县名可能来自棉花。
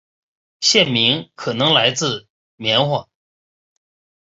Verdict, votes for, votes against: rejected, 0, 2